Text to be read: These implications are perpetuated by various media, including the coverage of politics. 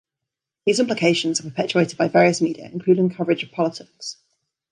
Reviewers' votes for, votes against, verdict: 2, 0, accepted